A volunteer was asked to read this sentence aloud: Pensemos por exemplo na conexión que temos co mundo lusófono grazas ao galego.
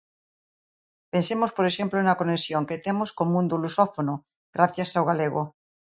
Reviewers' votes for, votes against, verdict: 0, 2, rejected